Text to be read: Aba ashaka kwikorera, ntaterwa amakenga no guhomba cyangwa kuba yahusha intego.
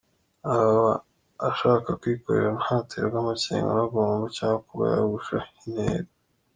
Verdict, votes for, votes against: rejected, 1, 2